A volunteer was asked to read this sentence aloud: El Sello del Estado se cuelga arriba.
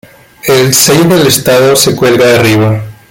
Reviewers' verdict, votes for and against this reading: rejected, 1, 2